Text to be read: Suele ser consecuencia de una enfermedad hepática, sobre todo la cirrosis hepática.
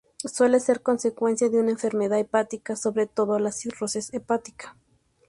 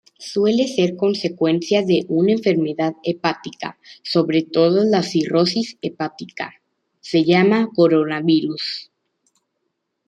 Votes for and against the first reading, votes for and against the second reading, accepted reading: 2, 0, 0, 2, first